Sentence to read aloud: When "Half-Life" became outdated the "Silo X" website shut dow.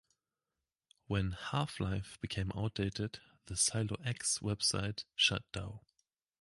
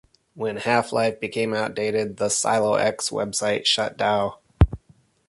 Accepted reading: second